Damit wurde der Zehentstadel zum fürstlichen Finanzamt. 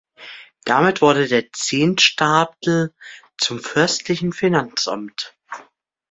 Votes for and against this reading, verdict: 1, 2, rejected